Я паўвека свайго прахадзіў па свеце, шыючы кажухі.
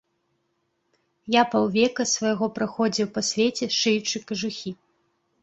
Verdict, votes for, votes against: rejected, 0, 2